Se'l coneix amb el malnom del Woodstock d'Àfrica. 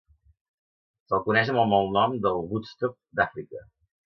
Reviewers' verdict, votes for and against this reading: accepted, 2, 0